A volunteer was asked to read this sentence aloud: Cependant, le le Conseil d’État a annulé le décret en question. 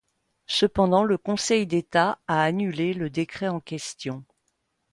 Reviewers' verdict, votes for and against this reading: accepted, 2, 1